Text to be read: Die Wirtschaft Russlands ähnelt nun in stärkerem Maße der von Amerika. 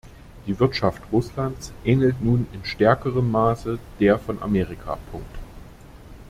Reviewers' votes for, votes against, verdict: 1, 2, rejected